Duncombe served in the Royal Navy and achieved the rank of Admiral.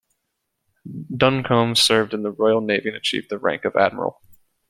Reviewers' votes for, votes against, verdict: 2, 0, accepted